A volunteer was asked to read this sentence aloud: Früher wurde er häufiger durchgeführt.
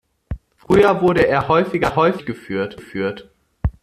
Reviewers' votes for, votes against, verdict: 0, 2, rejected